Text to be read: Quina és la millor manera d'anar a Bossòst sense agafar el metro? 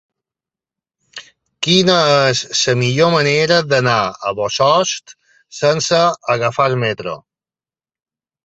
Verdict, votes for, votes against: accepted, 2, 1